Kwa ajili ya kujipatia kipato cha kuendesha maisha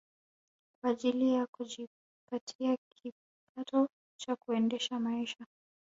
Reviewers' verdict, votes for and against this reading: accepted, 3, 2